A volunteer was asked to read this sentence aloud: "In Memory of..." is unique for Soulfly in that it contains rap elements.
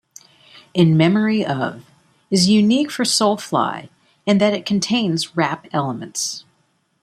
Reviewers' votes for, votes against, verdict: 2, 0, accepted